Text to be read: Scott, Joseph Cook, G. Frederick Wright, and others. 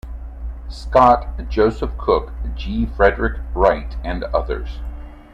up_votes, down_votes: 2, 0